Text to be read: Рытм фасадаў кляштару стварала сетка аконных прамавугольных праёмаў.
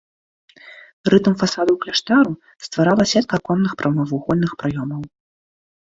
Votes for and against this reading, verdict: 2, 0, accepted